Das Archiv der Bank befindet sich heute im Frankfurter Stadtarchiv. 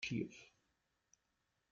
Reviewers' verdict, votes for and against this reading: rejected, 0, 2